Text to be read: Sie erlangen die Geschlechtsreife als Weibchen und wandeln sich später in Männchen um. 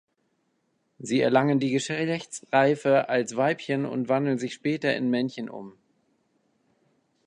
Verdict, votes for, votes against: rejected, 1, 3